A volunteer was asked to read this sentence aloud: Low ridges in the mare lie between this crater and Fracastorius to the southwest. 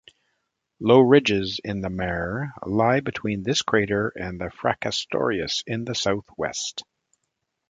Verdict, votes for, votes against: rejected, 1, 2